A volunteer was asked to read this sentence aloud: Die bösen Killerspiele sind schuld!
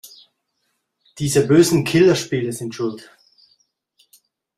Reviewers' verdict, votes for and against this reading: rejected, 1, 2